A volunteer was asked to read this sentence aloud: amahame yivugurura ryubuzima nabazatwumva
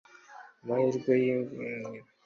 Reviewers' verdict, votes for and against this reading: rejected, 1, 2